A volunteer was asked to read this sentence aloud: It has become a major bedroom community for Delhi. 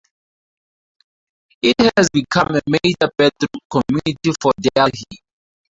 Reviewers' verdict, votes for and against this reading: accepted, 4, 0